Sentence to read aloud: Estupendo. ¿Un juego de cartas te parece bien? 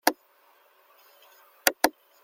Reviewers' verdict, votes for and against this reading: rejected, 0, 2